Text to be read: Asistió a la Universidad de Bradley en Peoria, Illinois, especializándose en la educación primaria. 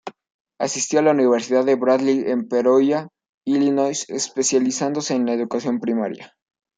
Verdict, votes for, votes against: rejected, 0, 2